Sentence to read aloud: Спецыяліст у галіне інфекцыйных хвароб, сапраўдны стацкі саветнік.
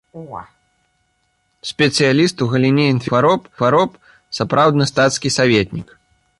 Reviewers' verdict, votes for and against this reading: rejected, 0, 2